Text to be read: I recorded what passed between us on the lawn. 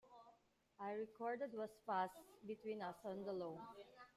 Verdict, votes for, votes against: rejected, 2, 3